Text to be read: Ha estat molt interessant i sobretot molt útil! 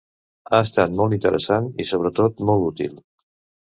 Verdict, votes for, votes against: accepted, 3, 0